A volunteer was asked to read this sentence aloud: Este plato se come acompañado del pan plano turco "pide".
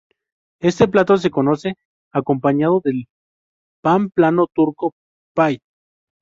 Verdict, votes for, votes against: rejected, 2, 2